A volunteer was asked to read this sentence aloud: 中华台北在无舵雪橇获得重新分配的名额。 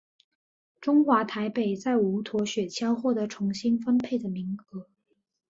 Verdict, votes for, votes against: accepted, 3, 0